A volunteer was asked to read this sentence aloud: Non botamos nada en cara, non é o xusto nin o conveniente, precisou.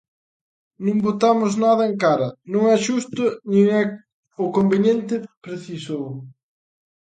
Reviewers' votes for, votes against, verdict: 0, 2, rejected